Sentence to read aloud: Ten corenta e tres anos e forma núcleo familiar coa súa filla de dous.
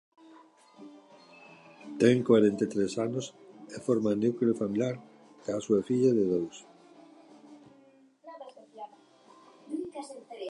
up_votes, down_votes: 0, 2